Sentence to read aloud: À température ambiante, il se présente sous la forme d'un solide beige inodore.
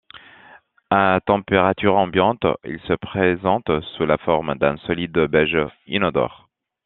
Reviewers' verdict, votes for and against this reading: rejected, 1, 2